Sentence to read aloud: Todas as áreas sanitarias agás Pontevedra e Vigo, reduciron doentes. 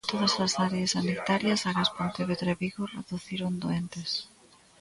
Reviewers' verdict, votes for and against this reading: rejected, 0, 2